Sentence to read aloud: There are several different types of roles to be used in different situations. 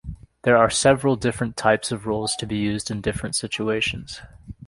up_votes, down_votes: 2, 0